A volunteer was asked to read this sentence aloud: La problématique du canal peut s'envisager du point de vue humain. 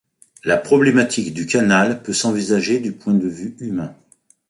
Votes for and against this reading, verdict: 2, 0, accepted